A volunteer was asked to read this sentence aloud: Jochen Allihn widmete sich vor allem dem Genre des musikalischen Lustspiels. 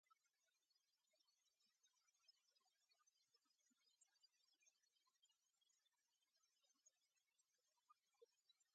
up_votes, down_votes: 0, 2